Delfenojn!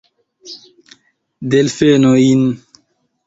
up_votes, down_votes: 2, 0